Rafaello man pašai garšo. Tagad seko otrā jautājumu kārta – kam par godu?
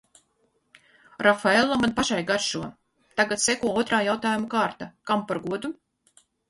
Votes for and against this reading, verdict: 4, 0, accepted